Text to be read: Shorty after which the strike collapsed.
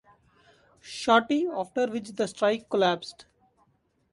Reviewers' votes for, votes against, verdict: 2, 0, accepted